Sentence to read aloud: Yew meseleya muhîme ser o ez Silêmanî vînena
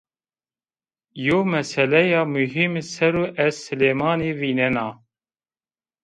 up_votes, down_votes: 2, 0